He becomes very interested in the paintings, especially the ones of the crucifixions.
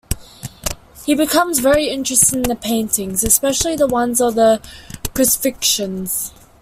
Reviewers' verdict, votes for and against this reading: accepted, 2, 1